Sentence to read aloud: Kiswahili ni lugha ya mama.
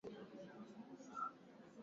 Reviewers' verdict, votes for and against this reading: rejected, 1, 2